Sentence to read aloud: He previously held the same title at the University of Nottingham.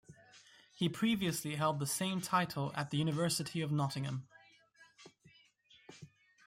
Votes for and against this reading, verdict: 1, 2, rejected